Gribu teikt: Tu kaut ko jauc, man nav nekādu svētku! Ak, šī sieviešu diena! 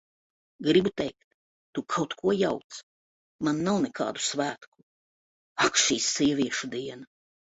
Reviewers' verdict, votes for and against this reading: accepted, 2, 0